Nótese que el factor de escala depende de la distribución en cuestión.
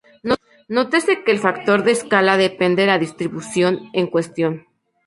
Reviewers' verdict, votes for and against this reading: rejected, 0, 2